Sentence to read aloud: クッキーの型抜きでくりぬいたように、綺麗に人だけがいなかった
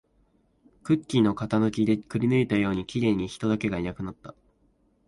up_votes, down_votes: 1, 2